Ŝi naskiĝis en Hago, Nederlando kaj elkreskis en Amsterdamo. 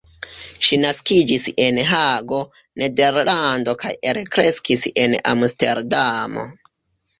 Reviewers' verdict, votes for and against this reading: rejected, 0, 2